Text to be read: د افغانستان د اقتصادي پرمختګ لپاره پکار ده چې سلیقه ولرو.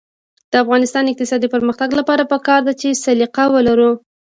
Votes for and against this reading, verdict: 0, 2, rejected